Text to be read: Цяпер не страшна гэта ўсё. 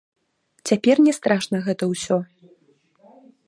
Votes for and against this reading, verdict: 0, 3, rejected